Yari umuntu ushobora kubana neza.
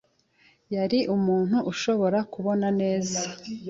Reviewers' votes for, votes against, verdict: 0, 2, rejected